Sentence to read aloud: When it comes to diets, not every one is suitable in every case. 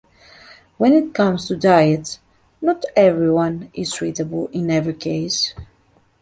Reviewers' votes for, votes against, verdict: 1, 2, rejected